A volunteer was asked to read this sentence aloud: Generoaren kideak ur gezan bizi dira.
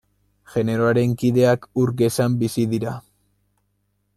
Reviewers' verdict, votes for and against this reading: accepted, 2, 0